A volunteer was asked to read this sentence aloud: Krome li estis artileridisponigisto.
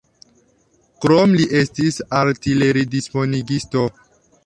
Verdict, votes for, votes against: accepted, 2, 0